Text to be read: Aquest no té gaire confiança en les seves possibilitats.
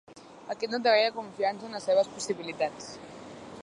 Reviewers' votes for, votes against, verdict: 1, 2, rejected